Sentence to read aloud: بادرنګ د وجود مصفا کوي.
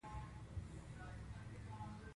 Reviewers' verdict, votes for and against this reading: accepted, 2, 0